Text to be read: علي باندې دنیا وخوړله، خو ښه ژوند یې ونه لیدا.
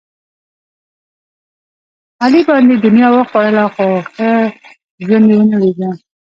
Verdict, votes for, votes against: rejected, 0, 2